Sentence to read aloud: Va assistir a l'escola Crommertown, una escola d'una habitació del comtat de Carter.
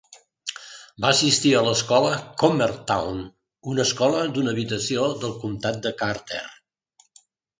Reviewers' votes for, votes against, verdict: 2, 0, accepted